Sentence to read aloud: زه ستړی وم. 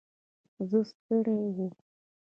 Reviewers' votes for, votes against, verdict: 0, 2, rejected